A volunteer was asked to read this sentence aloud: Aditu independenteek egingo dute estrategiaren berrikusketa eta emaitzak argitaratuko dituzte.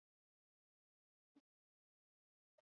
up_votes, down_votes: 0, 4